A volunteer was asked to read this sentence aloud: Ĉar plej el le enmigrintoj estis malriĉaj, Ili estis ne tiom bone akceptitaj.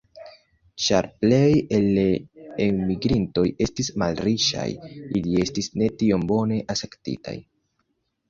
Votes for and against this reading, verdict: 1, 2, rejected